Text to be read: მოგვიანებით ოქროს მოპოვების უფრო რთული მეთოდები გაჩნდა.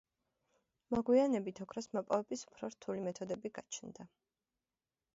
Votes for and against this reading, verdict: 0, 2, rejected